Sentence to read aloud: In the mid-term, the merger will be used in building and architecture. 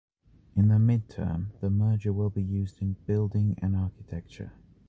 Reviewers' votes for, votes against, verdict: 2, 1, accepted